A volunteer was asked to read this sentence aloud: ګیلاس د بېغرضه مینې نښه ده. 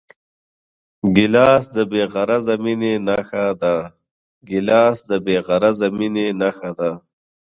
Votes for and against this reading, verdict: 1, 3, rejected